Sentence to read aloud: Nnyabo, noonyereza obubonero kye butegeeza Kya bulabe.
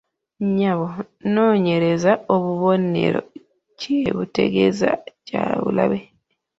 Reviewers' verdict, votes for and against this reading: rejected, 1, 2